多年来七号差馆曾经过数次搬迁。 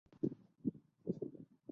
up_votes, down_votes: 0, 2